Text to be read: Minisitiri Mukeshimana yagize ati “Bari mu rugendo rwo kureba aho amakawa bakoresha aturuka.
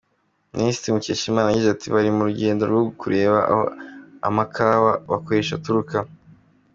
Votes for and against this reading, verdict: 2, 0, accepted